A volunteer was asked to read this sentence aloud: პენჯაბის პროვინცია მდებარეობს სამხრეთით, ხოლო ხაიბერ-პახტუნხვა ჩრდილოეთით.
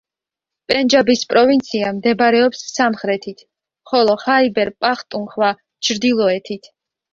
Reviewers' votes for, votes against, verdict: 3, 0, accepted